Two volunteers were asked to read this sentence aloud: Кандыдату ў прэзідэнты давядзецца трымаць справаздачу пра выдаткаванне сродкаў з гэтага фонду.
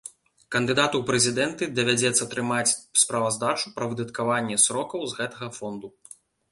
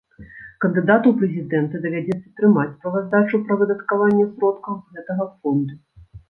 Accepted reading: first